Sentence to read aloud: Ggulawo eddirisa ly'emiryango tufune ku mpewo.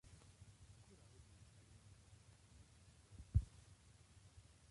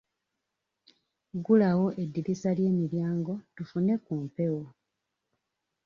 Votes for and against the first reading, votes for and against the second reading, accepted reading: 0, 2, 2, 0, second